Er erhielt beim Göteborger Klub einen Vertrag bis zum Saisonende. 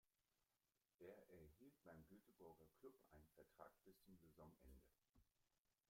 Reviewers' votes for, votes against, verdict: 0, 2, rejected